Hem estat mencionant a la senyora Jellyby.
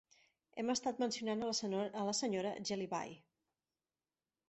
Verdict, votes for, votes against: rejected, 0, 3